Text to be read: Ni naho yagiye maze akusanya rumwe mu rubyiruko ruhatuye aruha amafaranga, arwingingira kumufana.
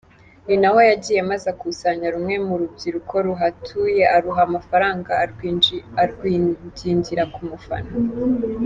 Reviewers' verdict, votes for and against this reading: rejected, 0, 2